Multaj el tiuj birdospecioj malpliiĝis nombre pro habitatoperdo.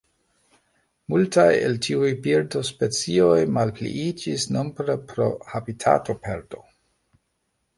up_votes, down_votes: 1, 2